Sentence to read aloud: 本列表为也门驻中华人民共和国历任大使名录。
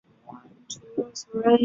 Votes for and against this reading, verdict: 0, 2, rejected